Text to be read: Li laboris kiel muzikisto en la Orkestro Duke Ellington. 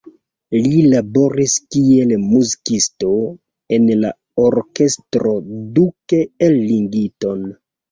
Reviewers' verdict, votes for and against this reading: rejected, 1, 2